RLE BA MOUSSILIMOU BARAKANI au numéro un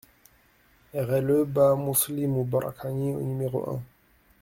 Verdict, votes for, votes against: rejected, 1, 2